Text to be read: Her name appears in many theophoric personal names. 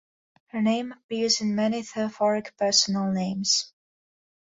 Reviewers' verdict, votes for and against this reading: accepted, 2, 1